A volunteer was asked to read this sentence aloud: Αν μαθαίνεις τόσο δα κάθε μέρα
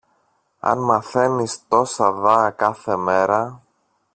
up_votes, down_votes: 0, 2